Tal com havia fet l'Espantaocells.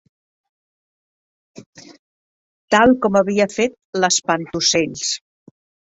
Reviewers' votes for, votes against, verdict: 3, 0, accepted